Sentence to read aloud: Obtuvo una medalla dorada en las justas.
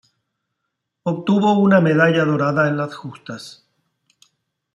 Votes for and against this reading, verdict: 2, 0, accepted